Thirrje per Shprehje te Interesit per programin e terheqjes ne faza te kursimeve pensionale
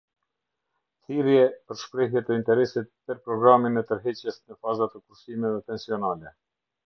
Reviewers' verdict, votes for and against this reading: rejected, 0, 2